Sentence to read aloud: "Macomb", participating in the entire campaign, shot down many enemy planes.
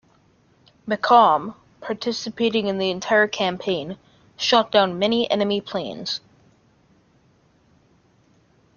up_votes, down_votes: 2, 1